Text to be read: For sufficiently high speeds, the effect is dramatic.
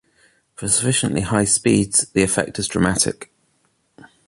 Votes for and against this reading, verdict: 2, 0, accepted